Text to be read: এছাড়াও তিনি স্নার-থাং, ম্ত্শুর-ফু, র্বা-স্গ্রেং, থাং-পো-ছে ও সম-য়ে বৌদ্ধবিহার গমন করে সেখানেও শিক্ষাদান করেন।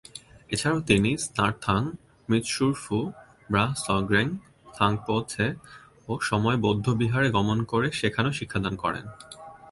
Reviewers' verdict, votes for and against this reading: accepted, 2, 1